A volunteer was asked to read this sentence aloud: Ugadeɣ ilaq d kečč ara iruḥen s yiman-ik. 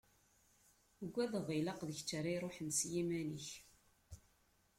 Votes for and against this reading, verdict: 2, 1, accepted